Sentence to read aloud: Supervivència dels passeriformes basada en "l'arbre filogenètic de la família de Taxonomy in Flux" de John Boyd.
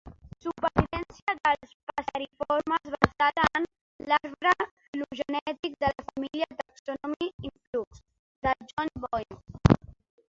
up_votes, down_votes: 0, 2